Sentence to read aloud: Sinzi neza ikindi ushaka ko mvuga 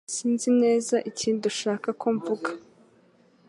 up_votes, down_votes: 2, 0